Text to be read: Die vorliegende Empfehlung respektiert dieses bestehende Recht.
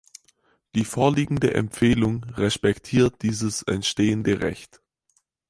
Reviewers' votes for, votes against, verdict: 0, 4, rejected